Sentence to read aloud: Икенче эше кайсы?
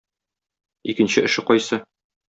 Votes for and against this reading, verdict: 2, 0, accepted